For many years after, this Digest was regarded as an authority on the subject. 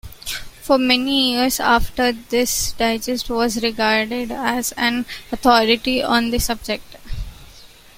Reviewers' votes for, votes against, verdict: 2, 0, accepted